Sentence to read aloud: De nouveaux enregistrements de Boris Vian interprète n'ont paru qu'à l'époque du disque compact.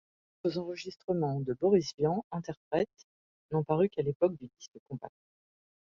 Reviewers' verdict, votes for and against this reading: rejected, 0, 2